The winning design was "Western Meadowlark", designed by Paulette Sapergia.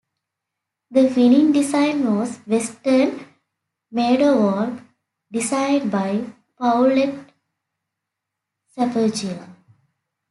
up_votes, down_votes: 1, 2